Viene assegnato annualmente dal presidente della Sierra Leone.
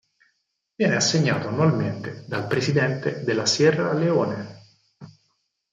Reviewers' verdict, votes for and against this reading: accepted, 4, 2